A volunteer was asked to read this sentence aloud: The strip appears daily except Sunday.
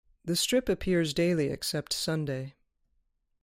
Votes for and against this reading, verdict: 2, 0, accepted